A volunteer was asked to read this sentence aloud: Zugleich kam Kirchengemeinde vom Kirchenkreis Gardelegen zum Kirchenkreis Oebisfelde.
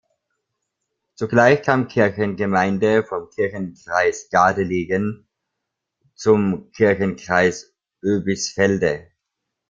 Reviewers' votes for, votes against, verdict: 1, 2, rejected